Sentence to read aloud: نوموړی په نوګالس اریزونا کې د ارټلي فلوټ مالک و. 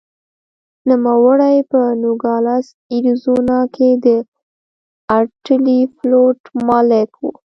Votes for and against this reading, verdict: 1, 2, rejected